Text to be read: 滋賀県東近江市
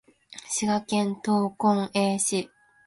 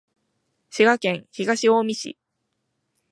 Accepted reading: second